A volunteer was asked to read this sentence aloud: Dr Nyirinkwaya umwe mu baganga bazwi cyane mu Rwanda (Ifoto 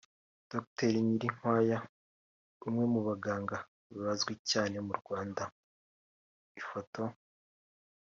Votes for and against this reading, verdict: 3, 1, accepted